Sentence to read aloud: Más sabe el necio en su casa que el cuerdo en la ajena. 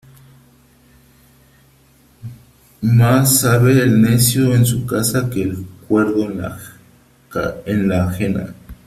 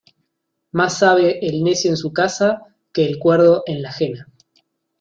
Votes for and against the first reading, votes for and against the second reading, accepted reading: 0, 2, 2, 0, second